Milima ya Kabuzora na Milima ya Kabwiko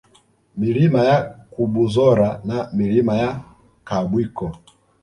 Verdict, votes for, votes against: accepted, 2, 0